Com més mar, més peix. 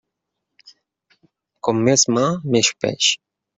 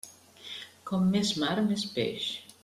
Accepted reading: second